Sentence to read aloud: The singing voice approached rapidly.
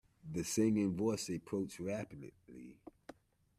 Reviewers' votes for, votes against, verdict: 2, 0, accepted